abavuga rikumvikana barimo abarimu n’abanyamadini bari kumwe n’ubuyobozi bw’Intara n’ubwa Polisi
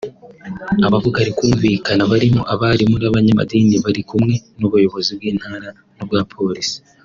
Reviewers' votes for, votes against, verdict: 3, 0, accepted